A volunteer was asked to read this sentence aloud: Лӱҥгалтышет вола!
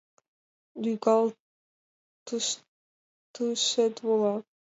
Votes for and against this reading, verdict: 1, 2, rejected